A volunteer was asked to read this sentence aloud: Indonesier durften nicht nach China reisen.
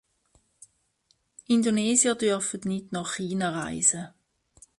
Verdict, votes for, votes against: rejected, 1, 2